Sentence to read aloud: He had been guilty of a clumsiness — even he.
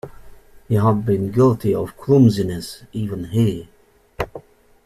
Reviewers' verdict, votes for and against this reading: accepted, 2, 0